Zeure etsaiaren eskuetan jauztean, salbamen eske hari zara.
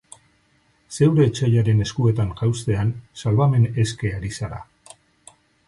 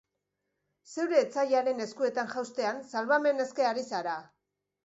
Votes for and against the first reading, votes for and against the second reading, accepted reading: 4, 0, 1, 2, first